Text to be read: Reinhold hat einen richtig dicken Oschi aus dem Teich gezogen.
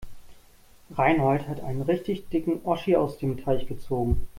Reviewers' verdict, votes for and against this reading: accepted, 2, 0